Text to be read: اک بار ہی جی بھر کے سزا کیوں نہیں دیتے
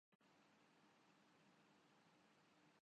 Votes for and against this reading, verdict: 1, 4, rejected